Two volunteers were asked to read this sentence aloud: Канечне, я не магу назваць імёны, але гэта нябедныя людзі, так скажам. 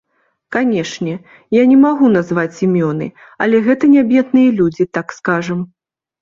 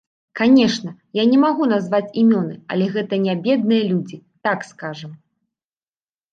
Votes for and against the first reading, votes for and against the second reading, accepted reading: 2, 0, 1, 2, first